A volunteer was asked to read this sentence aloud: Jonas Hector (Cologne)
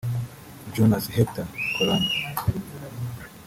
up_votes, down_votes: 0, 2